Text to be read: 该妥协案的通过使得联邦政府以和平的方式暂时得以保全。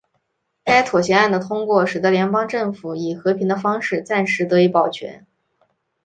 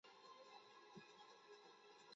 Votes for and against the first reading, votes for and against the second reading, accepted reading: 6, 0, 0, 2, first